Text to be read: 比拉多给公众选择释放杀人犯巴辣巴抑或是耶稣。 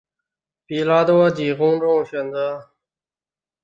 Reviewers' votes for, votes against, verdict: 0, 3, rejected